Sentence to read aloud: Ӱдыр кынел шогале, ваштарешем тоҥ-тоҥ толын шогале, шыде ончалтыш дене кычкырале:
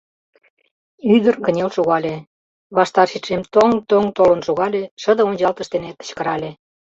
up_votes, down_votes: 0, 2